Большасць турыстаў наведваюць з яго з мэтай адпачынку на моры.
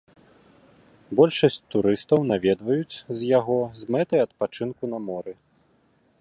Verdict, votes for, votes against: accepted, 2, 0